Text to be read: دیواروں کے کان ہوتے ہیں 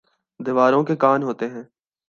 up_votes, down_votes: 2, 0